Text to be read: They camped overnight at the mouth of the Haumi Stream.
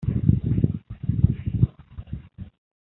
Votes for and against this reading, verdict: 0, 2, rejected